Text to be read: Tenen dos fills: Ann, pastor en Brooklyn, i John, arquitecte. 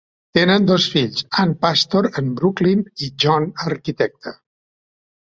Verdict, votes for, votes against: rejected, 1, 2